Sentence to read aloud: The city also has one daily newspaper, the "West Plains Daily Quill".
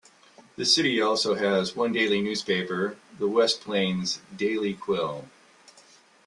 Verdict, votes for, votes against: accepted, 2, 0